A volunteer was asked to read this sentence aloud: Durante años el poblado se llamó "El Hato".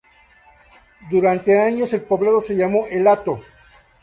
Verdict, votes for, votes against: accepted, 2, 0